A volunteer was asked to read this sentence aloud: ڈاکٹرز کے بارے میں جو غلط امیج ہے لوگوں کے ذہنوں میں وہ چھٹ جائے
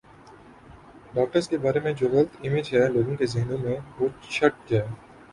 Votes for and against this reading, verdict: 1, 2, rejected